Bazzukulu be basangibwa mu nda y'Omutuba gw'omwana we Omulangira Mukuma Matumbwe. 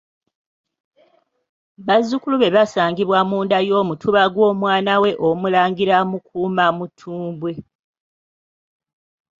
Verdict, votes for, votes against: accepted, 2, 1